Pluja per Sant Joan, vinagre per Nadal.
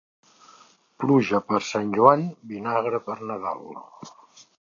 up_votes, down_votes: 2, 0